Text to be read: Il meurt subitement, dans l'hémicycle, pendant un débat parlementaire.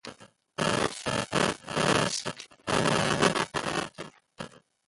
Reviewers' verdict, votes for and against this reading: rejected, 0, 2